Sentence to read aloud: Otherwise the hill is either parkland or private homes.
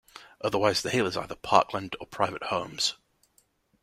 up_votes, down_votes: 2, 0